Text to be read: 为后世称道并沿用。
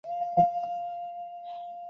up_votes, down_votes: 0, 2